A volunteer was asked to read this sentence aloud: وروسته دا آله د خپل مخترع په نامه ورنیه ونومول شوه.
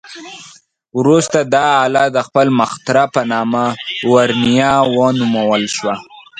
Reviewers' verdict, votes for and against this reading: accepted, 2, 0